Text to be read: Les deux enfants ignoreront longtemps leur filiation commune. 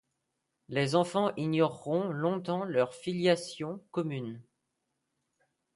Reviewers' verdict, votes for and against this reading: rejected, 1, 2